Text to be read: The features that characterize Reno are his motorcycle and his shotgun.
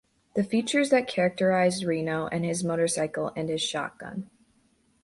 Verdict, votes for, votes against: rejected, 0, 2